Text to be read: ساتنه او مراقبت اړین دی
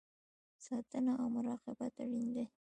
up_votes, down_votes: 1, 2